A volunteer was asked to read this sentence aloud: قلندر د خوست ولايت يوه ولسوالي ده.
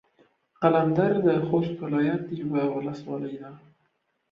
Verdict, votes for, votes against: accepted, 2, 0